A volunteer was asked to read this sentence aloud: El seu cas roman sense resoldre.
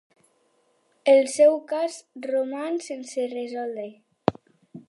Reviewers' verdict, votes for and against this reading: accepted, 4, 0